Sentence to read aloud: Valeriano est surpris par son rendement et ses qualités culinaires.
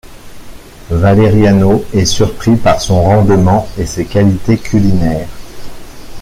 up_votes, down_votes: 0, 2